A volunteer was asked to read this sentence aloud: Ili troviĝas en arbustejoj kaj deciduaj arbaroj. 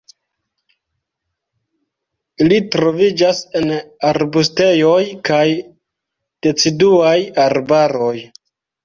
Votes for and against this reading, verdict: 3, 0, accepted